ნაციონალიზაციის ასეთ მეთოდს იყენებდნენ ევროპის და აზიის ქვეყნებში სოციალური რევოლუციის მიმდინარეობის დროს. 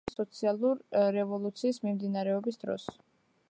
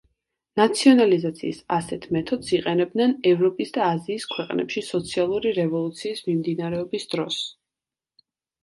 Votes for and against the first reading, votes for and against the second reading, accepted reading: 0, 2, 2, 0, second